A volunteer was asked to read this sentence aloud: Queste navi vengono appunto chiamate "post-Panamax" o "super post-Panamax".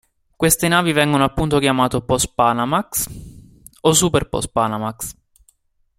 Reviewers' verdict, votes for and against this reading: accepted, 2, 1